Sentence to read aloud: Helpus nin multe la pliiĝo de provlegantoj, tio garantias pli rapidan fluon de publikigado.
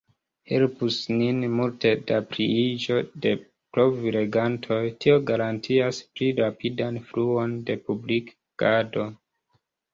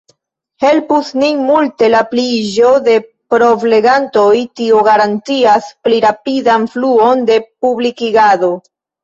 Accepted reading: second